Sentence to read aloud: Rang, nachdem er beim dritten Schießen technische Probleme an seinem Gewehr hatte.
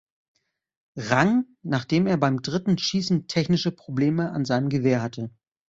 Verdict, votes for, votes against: accepted, 2, 0